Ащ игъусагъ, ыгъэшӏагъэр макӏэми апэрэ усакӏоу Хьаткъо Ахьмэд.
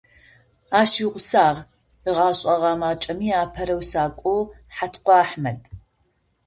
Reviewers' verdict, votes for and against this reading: rejected, 0, 2